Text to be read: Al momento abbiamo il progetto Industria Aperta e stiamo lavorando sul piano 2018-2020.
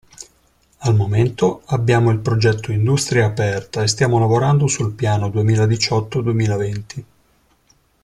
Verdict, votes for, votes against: rejected, 0, 2